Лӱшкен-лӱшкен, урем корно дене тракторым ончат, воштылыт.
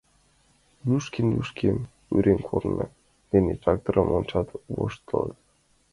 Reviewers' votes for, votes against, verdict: 0, 2, rejected